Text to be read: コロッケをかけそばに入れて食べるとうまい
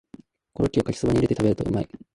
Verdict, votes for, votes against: rejected, 1, 2